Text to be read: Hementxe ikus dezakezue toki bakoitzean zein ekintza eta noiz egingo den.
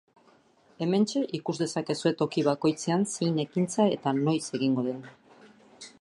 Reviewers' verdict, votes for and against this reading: accepted, 2, 0